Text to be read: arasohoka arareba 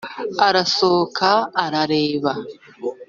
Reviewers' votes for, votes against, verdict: 2, 0, accepted